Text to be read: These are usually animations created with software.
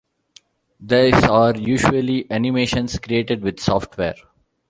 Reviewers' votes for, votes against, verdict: 1, 2, rejected